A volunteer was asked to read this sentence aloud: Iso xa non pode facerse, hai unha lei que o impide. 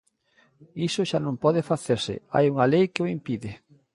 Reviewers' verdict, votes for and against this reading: accepted, 2, 0